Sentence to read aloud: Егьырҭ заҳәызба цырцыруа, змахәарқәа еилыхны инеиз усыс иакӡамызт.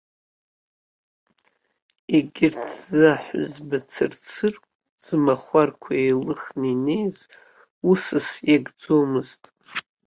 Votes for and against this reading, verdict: 1, 2, rejected